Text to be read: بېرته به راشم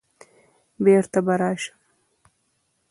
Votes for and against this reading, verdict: 1, 2, rejected